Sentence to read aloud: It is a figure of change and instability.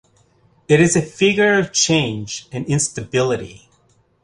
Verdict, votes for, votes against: accepted, 2, 0